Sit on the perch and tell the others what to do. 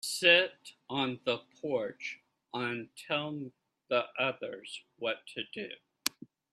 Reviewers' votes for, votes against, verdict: 0, 2, rejected